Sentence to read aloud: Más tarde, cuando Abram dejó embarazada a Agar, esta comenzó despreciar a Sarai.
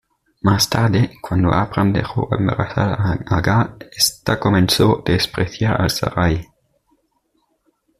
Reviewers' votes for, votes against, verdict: 1, 2, rejected